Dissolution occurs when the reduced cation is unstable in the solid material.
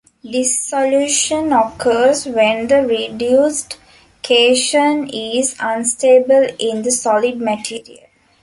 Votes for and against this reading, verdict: 3, 1, accepted